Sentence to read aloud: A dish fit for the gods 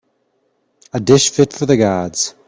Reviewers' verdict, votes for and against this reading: accepted, 2, 0